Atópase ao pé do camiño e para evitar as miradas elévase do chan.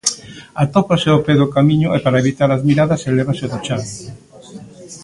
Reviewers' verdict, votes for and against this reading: rejected, 0, 2